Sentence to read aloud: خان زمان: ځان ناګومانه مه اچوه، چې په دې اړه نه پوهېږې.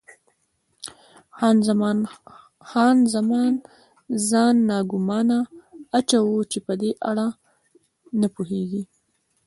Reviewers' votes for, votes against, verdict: 0, 2, rejected